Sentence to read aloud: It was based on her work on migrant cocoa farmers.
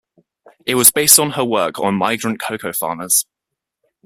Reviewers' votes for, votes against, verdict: 2, 0, accepted